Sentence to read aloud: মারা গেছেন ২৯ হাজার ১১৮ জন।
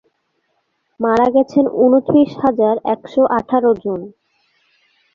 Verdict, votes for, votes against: rejected, 0, 2